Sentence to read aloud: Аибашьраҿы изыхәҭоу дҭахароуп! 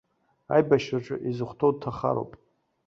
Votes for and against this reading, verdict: 2, 0, accepted